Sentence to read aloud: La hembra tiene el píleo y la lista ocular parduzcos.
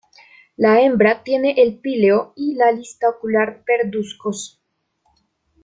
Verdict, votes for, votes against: rejected, 0, 2